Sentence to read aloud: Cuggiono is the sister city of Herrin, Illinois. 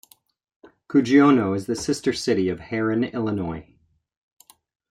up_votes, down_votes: 2, 0